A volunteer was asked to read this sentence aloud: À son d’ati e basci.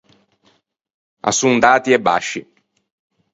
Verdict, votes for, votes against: accepted, 4, 0